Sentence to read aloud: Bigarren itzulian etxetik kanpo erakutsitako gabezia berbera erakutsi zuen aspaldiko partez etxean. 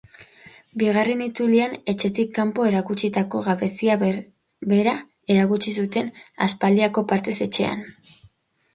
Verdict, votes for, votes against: rejected, 0, 3